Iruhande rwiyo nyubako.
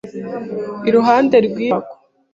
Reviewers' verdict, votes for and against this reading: rejected, 1, 2